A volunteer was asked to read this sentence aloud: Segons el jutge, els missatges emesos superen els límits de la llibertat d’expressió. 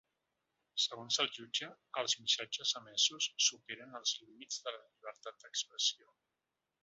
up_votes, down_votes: 2, 3